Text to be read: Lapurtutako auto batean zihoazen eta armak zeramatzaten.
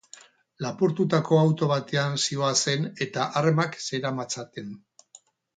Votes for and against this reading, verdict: 4, 0, accepted